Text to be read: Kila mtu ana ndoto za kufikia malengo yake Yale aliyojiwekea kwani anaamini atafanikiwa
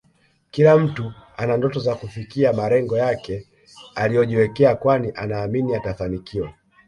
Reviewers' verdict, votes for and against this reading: rejected, 1, 2